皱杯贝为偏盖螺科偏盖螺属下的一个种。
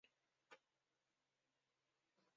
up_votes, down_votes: 0, 3